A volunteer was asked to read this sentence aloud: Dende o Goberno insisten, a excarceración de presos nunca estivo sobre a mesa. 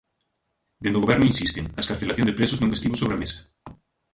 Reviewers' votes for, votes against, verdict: 0, 2, rejected